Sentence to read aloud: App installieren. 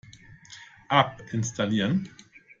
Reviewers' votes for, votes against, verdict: 2, 1, accepted